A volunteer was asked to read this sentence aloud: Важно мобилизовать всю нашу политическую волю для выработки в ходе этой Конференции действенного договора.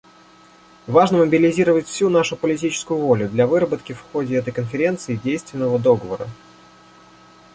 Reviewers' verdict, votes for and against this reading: rejected, 0, 2